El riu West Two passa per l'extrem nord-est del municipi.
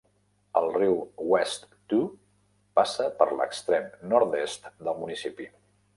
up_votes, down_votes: 1, 2